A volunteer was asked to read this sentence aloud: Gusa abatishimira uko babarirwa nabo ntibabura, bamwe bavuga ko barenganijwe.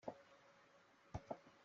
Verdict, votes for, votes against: rejected, 0, 2